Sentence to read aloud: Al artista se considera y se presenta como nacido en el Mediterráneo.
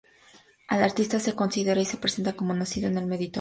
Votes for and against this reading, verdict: 0, 2, rejected